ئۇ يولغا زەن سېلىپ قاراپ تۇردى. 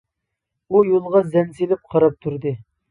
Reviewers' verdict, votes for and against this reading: accepted, 2, 0